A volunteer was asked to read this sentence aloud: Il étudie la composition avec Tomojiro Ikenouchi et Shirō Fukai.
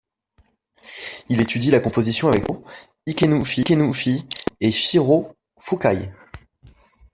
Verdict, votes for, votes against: rejected, 1, 2